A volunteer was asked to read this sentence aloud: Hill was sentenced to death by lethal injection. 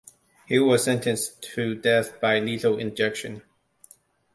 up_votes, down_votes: 2, 0